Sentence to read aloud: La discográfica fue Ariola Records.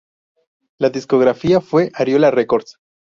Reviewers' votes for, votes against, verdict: 0, 2, rejected